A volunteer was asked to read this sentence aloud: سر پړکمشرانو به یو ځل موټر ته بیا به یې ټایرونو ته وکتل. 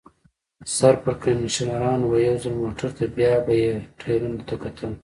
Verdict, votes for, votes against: rejected, 0, 2